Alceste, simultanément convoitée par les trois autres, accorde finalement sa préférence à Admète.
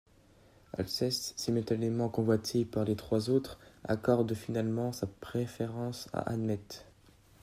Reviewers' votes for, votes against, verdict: 2, 0, accepted